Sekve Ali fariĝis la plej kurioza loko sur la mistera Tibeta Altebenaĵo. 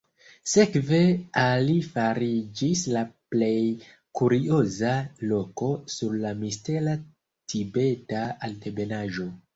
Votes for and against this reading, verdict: 1, 2, rejected